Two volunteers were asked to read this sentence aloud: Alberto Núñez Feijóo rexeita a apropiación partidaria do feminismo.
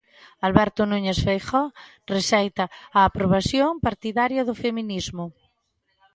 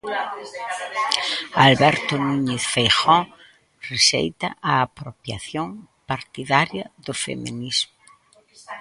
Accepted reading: second